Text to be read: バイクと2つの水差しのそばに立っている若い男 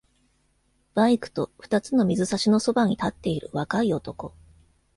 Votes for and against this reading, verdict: 0, 2, rejected